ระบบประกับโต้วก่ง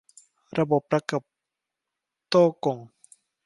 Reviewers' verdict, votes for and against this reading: accepted, 2, 1